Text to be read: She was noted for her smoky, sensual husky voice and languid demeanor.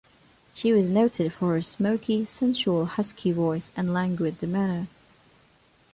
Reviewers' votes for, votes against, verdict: 1, 2, rejected